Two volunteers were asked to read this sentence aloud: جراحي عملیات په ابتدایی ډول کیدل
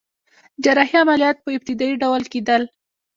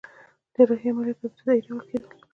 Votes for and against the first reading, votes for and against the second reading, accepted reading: 1, 2, 2, 1, second